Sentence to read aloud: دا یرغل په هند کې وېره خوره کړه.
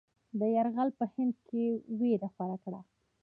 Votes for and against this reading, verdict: 1, 2, rejected